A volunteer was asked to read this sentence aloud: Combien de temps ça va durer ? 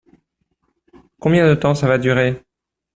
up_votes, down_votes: 2, 0